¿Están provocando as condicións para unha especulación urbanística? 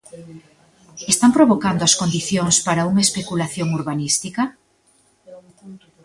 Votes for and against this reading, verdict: 2, 0, accepted